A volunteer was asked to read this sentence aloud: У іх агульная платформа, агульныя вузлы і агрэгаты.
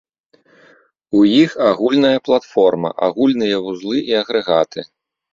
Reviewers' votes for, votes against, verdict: 3, 0, accepted